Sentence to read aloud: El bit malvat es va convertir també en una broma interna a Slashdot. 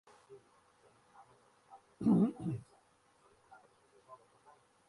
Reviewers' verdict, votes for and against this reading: rejected, 0, 2